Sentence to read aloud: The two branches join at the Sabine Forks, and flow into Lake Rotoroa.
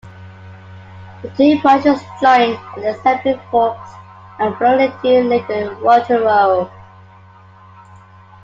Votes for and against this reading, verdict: 1, 2, rejected